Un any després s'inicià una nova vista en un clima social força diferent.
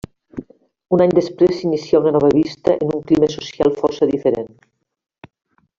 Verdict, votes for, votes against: rejected, 1, 2